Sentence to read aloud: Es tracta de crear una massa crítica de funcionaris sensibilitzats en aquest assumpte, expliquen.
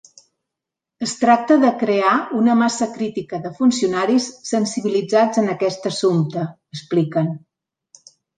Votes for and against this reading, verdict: 2, 0, accepted